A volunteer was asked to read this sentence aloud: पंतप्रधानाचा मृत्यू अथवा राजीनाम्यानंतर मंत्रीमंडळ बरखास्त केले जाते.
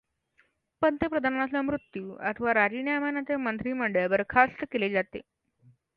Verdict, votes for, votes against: accepted, 2, 0